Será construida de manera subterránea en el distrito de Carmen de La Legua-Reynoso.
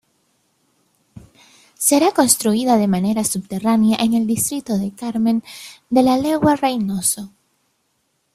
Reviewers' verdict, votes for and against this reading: accepted, 2, 0